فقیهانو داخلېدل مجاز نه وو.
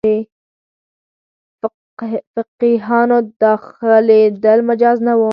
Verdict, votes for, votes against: rejected, 2, 4